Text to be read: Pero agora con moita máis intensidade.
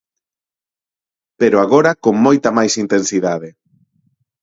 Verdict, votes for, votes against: accepted, 4, 0